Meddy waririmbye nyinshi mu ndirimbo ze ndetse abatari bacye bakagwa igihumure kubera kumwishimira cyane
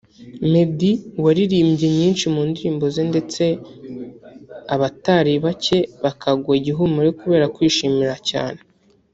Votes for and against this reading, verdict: 2, 3, rejected